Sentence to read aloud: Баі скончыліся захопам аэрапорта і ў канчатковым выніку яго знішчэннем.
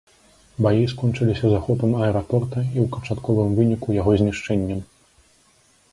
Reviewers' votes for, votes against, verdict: 2, 0, accepted